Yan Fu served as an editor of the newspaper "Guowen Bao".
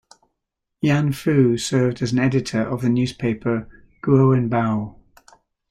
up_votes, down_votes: 2, 0